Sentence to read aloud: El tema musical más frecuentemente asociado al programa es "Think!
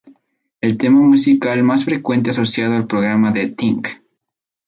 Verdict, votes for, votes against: rejected, 0, 2